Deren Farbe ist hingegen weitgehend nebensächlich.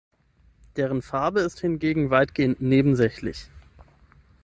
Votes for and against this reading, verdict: 6, 0, accepted